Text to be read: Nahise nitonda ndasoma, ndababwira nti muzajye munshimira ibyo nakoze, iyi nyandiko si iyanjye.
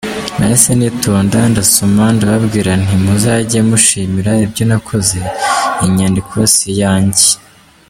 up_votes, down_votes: 1, 3